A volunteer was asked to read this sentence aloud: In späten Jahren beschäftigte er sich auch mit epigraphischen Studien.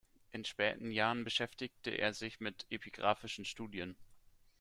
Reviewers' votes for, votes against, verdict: 0, 2, rejected